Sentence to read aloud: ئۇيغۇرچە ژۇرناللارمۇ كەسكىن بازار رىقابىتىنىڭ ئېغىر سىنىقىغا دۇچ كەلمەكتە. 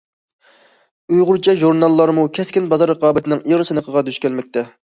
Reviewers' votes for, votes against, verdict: 2, 0, accepted